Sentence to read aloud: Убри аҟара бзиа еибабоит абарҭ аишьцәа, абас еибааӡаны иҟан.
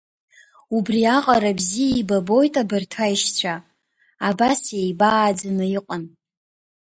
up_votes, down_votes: 2, 0